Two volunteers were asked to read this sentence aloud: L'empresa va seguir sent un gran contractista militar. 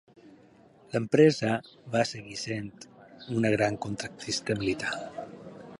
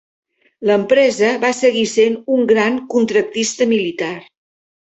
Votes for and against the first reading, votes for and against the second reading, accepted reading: 2, 4, 2, 0, second